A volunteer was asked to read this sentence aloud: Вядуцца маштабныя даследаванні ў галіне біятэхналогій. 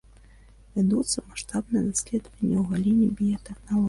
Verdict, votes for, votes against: accepted, 2, 0